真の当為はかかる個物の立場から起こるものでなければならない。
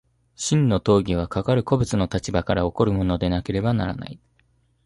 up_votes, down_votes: 1, 2